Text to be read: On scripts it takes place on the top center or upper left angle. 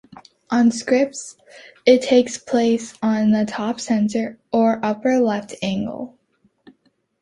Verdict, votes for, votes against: accepted, 2, 0